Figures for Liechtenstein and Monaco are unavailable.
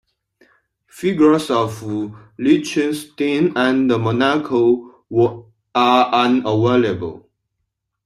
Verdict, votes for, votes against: rejected, 0, 2